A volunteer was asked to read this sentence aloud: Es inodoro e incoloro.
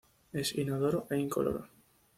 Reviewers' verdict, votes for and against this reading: accepted, 2, 0